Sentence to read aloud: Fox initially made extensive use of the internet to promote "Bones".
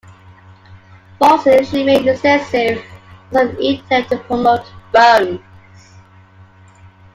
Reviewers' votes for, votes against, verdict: 1, 2, rejected